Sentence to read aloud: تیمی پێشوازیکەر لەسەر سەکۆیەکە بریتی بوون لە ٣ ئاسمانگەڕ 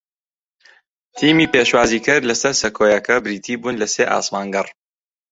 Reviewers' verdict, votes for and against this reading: rejected, 0, 2